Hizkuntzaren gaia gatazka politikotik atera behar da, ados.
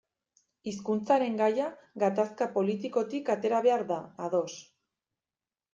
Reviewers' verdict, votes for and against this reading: accepted, 2, 0